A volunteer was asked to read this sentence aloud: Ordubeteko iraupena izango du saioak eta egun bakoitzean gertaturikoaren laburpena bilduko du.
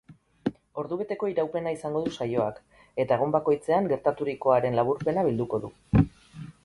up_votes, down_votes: 0, 2